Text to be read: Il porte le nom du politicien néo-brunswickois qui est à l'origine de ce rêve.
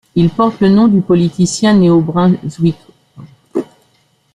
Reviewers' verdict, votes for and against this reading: rejected, 1, 2